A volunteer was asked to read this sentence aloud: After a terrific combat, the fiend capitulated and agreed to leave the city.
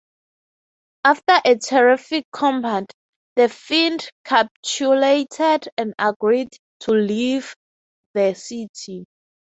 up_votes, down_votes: 6, 0